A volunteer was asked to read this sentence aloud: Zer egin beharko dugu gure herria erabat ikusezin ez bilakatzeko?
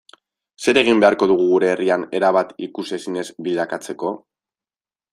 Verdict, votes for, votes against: accepted, 2, 0